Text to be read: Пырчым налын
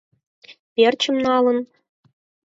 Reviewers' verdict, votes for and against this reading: rejected, 0, 4